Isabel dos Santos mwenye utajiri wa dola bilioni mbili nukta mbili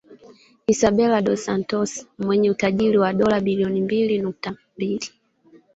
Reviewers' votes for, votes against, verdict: 2, 0, accepted